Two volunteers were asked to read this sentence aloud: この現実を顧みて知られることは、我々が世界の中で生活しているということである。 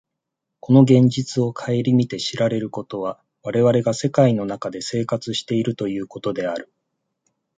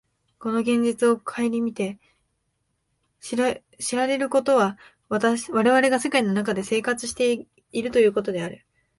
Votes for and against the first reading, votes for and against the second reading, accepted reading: 2, 0, 1, 4, first